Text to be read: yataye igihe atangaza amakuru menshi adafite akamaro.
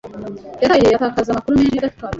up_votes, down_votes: 0, 2